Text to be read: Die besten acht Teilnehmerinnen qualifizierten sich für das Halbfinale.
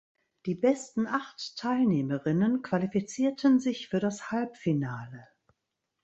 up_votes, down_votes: 2, 0